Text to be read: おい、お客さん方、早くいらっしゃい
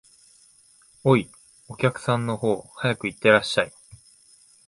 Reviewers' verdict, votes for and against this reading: rejected, 1, 2